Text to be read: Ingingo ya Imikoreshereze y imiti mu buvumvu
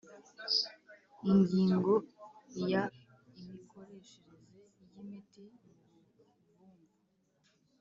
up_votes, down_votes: 1, 4